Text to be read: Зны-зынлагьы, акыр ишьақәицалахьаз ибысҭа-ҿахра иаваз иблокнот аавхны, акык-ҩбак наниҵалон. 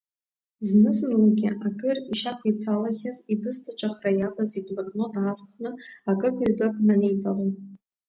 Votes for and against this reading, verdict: 1, 2, rejected